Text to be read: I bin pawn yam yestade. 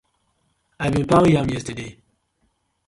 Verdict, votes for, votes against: accepted, 2, 0